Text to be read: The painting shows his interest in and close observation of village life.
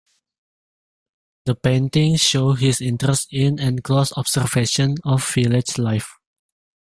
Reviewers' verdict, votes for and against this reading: rejected, 0, 3